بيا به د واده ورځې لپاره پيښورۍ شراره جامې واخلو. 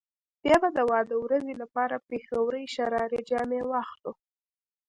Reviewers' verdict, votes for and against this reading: accepted, 2, 0